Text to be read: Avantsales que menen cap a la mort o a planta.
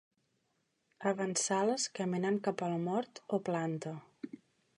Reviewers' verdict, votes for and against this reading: rejected, 1, 2